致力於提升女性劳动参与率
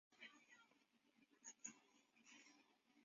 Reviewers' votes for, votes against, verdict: 0, 3, rejected